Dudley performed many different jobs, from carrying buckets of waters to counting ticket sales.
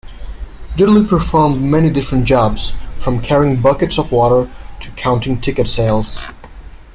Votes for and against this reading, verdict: 1, 2, rejected